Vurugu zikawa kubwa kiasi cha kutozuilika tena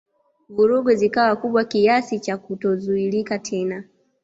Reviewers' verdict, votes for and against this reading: accepted, 2, 0